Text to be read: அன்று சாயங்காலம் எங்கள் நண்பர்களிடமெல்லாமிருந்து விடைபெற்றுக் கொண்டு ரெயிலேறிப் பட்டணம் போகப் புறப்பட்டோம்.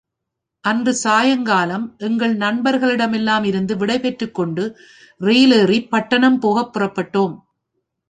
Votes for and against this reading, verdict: 2, 0, accepted